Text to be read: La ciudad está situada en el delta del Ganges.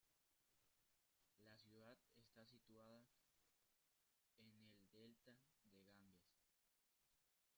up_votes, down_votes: 0, 2